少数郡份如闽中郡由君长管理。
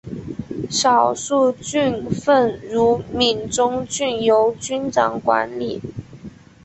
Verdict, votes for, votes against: accepted, 2, 0